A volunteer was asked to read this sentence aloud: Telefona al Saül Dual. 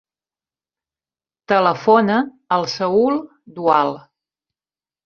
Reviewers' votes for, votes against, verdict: 3, 0, accepted